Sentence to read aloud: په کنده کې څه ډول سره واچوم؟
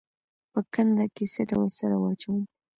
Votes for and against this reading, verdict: 2, 0, accepted